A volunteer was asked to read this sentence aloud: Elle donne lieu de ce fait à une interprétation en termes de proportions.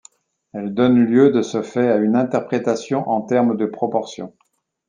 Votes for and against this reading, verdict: 2, 0, accepted